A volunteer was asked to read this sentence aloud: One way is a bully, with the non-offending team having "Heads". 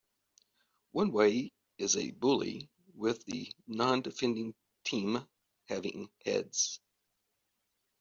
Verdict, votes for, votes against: accepted, 2, 1